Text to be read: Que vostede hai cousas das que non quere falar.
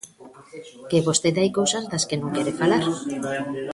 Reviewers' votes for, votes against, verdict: 2, 0, accepted